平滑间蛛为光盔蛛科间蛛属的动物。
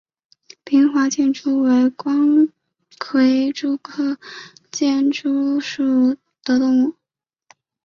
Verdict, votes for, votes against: accepted, 2, 0